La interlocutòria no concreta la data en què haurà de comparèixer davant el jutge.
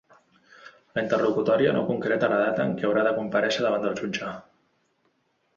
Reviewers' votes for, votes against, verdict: 3, 2, accepted